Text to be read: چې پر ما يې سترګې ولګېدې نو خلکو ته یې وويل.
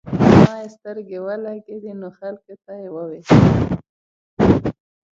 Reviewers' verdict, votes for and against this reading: rejected, 0, 2